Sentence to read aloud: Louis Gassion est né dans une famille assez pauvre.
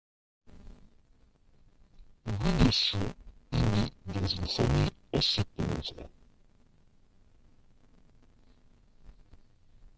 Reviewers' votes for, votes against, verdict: 1, 2, rejected